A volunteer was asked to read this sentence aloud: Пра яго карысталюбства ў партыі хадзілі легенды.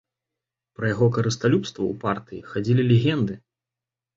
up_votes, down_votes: 2, 0